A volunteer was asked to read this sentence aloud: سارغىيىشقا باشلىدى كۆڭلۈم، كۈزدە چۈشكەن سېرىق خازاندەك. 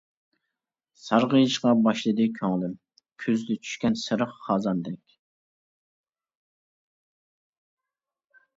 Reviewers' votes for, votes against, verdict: 2, 0, accepted